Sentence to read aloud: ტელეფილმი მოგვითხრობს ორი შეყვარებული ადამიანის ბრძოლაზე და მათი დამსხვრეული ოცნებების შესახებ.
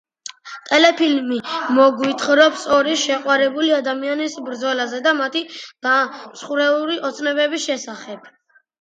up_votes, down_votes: 2, 0